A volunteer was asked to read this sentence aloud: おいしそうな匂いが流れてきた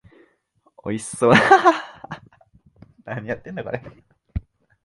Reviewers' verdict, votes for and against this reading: rejected, 1, 2